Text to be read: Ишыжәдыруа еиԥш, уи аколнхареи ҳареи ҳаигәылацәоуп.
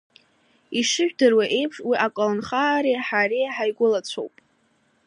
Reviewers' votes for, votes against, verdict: 2, 0, accepted